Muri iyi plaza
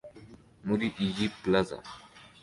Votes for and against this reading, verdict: 2, 0, accepted